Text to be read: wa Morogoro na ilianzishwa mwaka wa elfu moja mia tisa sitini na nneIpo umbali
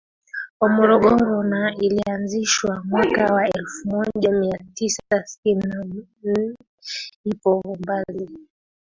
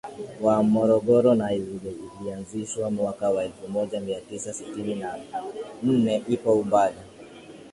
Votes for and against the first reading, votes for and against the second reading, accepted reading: 0, 2, 2, 0, second